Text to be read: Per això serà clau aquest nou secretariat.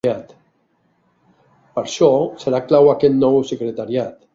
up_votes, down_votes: 1, 3